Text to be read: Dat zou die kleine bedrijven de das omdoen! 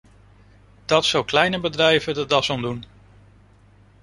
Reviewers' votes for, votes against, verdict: 0, 2, rejected